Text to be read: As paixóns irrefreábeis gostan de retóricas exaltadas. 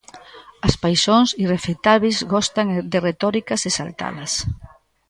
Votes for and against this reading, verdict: 0, 2, rejected